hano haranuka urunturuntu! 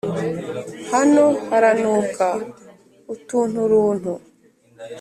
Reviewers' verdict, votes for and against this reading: rejected, 1, 2